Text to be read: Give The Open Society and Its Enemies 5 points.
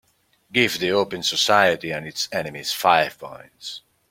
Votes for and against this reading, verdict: 0, 2, rejected